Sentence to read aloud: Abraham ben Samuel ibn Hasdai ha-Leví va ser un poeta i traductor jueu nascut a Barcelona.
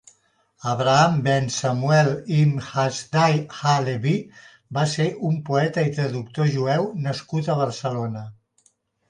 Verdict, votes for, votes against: accepted, 2, 0